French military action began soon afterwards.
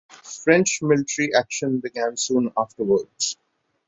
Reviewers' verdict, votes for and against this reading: accepted, 3, 0